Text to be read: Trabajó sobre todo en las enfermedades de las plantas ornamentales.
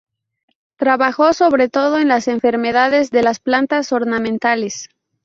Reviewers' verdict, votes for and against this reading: accepted, 2, 0